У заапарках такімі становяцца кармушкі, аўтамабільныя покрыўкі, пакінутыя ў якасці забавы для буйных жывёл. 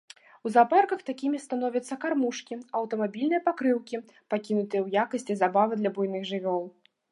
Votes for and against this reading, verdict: 2, 0, accepted